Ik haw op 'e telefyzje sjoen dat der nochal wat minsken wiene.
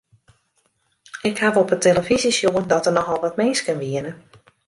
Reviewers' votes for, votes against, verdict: 2, 0, accepted